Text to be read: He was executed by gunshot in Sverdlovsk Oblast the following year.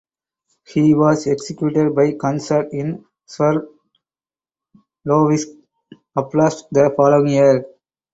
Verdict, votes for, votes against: rejected, 0, 4